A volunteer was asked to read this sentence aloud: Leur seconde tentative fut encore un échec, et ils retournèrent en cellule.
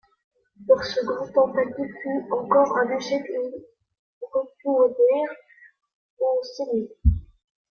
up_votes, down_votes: 2, 1